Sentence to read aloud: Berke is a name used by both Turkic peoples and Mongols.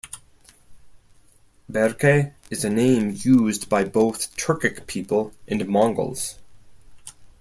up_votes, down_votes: 2, 4